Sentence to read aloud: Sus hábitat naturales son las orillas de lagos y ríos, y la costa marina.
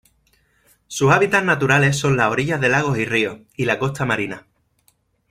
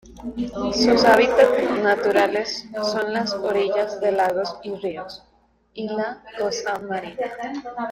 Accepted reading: first